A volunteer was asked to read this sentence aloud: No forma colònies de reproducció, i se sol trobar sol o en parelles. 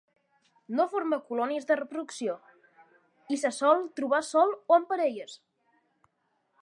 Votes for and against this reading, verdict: 2, 0, accepted